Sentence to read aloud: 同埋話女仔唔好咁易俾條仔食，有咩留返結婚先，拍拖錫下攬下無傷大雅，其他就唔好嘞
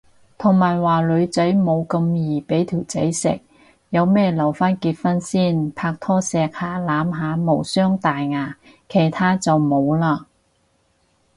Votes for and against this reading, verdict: 2, 2, rejected